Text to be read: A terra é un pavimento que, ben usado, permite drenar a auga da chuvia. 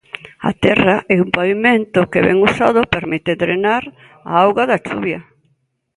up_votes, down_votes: 2, 0